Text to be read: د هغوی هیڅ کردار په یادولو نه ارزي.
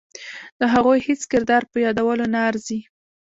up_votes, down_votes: 0, 2